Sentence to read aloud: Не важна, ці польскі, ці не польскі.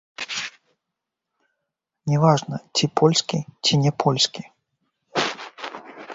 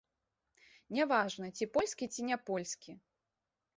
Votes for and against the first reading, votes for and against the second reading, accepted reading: 0, 2, 3, 0, second